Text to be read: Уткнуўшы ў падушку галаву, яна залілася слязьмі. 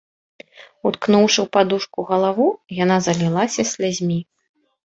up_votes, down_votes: 2, 0